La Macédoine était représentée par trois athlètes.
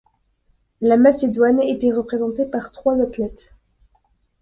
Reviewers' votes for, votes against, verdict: 2, 0, accepted